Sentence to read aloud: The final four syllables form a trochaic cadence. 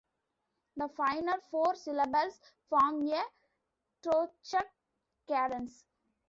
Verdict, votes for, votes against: rejected, 0, 2